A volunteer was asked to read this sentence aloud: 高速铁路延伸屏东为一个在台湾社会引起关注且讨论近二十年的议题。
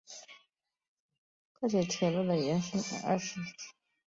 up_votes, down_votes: 0, 4